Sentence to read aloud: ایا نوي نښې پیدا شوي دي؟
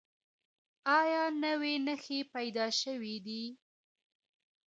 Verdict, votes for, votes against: rejected, 1, 2